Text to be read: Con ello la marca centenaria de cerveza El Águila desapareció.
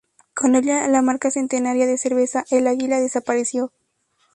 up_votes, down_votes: 0, 2